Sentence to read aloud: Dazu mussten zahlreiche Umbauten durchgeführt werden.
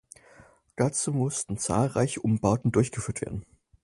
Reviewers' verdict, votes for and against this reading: accepted, 4, 0